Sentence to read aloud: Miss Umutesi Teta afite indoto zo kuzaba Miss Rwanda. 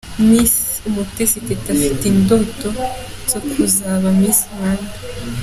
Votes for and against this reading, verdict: 1, 2, rejected